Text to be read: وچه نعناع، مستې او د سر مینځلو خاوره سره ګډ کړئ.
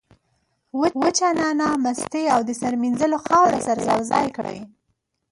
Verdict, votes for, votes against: rejected, 0, 2